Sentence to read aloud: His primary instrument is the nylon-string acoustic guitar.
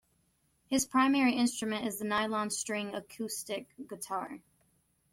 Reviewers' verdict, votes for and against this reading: accepted, 2, 0